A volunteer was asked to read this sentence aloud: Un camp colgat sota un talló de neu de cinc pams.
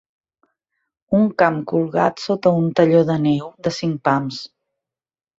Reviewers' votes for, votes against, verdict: 4, 0, accepted